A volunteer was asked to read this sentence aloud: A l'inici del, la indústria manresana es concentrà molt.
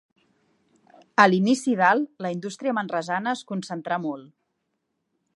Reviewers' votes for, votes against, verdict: 2, 0, accepted